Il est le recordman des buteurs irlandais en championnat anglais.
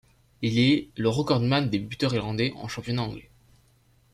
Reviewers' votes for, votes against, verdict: 2, 0, accepted